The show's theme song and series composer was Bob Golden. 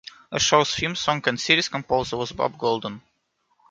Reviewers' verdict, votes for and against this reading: rejected, 1, 2